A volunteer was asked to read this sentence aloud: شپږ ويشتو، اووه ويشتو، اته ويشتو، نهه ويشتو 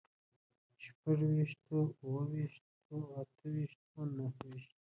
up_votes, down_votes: 0, 2